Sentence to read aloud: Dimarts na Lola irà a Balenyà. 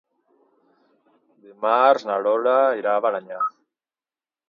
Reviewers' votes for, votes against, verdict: 0, 2, rejected